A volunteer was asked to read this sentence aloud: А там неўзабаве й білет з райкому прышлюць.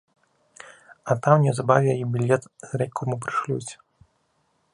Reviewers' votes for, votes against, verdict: 3, 1, accepted